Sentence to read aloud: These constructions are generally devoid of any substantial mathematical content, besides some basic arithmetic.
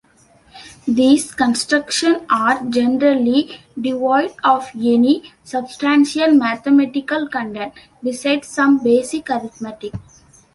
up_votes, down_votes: 1, 2